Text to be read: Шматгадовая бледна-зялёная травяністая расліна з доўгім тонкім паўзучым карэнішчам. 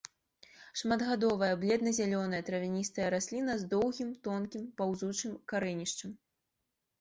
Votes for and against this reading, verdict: 2, 0, accepted